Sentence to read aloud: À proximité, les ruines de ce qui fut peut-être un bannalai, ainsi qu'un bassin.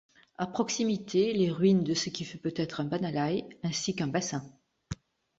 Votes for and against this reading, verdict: 3, 0, accepted